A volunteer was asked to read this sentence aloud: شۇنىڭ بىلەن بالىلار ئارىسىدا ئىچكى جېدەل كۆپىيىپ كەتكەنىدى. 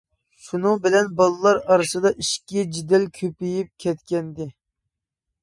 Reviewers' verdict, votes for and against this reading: rejected, 1, 2